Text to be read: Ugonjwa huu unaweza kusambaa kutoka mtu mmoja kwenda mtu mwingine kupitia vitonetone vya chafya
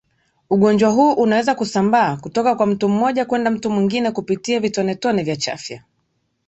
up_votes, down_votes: 1, 2